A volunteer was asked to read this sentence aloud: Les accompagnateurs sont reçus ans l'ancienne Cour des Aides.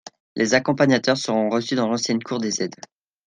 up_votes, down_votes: 0, 2